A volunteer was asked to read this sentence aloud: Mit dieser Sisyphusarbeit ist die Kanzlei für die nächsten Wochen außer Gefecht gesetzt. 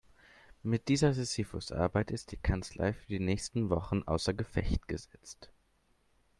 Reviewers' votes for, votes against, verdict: 1, 2, rejected